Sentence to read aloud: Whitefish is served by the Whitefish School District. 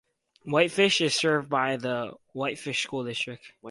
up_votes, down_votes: 4, 0